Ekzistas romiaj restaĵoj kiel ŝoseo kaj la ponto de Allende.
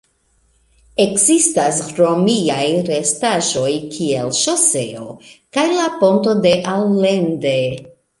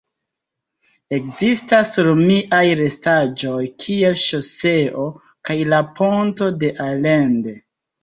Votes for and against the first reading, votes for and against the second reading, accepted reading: 2, 0, 1, 2, first